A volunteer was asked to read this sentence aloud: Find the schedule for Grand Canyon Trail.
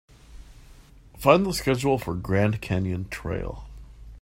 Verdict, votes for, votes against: accepted, 2, 0